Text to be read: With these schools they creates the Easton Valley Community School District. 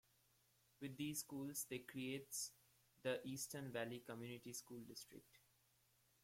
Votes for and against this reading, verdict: 0, 2, rejected